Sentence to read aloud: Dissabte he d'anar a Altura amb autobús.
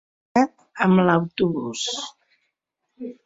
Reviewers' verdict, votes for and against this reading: rejected, 0, 4